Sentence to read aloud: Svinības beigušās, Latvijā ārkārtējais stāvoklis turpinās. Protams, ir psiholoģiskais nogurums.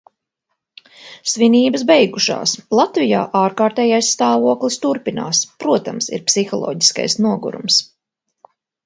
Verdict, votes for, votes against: accepted, 2, 0